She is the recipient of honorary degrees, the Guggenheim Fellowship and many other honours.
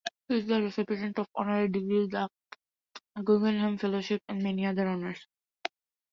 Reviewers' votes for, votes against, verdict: 0, 2, rejected